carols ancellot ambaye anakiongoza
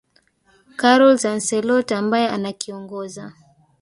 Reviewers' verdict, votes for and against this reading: accepted, 2, 0